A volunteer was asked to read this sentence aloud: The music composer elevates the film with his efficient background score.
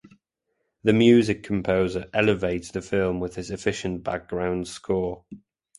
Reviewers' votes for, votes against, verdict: 3, 0, accepted